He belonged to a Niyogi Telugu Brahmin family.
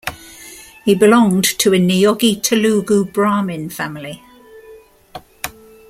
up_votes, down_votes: 2, 0